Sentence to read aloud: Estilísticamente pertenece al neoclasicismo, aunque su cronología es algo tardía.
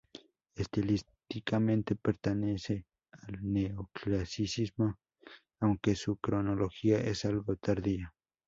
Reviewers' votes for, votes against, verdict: 0, 2, rejected